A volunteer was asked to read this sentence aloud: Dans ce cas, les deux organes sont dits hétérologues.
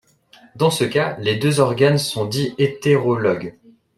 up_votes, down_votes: 2, 0